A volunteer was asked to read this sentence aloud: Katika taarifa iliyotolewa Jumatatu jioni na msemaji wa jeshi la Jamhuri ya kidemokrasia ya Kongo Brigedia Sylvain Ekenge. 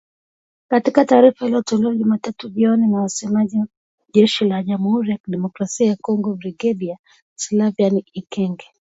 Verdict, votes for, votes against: accepted, 2, 0